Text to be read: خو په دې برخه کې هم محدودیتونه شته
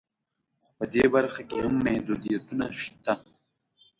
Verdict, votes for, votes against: accepted, 2, 0